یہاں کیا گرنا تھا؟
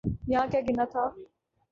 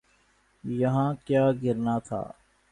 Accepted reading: second